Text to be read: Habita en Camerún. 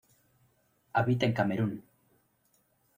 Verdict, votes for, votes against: accepted, 2, 0